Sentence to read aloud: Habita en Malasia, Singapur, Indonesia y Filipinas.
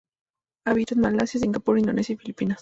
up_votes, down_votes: 2, 0